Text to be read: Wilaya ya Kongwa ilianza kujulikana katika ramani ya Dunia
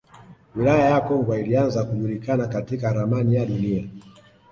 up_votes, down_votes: 2, 0